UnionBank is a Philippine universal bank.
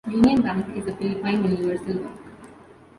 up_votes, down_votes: 1, 2